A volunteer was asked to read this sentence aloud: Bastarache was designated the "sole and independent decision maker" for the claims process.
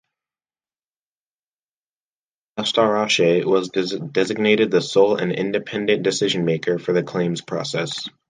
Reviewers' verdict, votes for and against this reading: rejected, 0, 3